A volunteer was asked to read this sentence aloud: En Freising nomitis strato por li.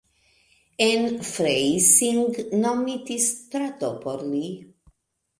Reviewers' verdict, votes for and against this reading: accepted, 2, 0